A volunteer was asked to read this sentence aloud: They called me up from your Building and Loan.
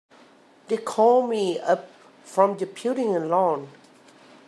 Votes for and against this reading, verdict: 2, 5, rejected